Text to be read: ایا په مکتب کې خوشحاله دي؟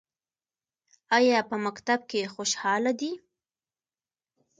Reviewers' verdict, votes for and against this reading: accepted, 2, 0